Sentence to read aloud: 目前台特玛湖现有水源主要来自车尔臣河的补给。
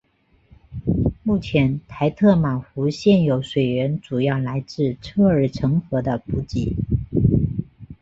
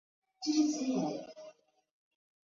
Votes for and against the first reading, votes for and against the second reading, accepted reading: 2, 0, 0, 6, first